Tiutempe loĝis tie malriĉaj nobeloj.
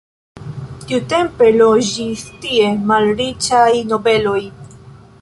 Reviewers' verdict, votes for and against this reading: accepted, 2, 0